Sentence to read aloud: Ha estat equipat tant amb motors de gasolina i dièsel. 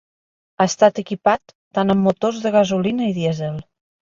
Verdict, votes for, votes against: accepted, 3, 0